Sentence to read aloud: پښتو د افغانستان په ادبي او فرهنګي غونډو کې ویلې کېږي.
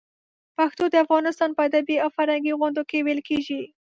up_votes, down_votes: 2, 0